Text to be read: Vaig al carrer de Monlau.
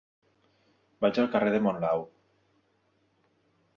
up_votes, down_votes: 2, 0